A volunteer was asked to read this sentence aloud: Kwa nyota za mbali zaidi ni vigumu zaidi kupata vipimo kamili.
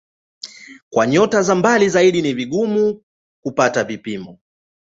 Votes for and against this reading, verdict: 5, 1, accepted